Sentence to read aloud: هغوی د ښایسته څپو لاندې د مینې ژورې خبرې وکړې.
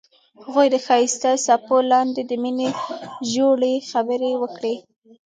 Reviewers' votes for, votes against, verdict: 2, 1, accepted